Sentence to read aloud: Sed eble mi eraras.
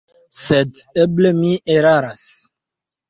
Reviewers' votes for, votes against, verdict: 2, 0, accepted